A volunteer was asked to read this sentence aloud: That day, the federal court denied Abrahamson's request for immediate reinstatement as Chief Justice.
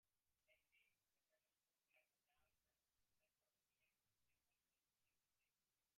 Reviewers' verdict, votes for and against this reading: rejected, 0, 2